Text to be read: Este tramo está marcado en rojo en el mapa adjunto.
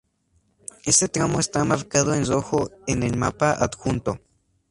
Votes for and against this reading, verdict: 2, 0, accepted